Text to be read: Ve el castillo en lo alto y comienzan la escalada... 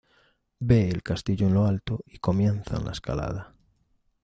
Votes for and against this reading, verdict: 2, 0, accepted